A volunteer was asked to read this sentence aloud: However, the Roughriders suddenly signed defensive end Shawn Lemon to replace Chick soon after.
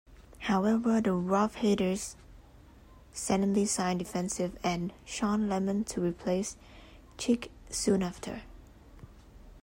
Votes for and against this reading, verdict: 0, 2, rejected